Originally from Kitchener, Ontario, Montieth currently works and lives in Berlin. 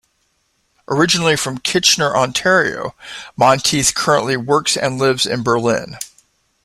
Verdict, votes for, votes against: accepted, 2, 0